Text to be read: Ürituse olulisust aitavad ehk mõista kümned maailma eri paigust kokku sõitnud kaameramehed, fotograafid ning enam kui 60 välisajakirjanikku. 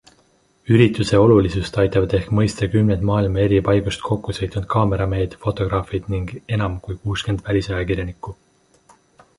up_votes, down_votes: 0, 2